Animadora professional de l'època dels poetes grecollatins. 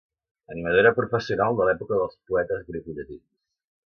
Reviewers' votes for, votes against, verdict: 2, 0, accepted